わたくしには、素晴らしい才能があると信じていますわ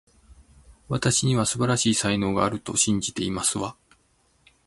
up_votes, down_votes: 0, 2